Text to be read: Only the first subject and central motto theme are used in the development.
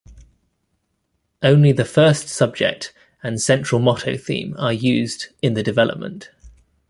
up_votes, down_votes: 2, 0